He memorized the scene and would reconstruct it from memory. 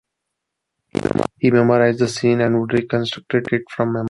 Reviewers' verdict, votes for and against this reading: rejected, 0, 2